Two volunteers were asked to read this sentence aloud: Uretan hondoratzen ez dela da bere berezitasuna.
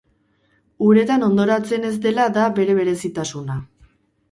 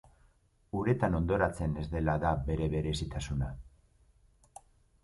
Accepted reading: second